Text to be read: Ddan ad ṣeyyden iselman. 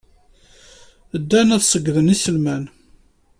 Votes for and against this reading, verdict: 2, 0, accepted